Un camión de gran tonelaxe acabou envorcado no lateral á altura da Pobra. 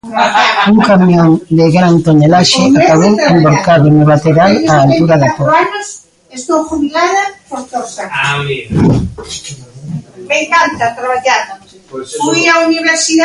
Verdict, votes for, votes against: rejected, 0, 3